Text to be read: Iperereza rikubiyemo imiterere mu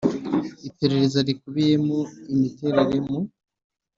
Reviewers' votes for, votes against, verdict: 2, 0, accepted